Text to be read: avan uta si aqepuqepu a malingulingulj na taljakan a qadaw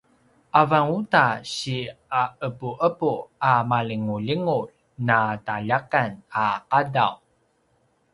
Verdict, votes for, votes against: accepted, 2, 0